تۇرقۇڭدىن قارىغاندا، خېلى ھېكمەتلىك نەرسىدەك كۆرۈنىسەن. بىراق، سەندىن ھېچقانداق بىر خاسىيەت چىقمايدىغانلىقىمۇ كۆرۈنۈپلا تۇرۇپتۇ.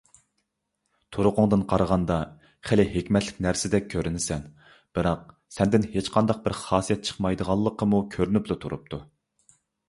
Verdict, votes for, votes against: accepted, 2, 0